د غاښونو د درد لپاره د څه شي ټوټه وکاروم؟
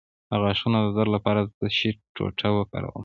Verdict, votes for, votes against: accepted, 2, 1